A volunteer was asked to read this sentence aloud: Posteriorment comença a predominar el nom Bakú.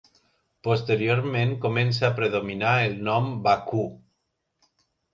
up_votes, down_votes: 2, 0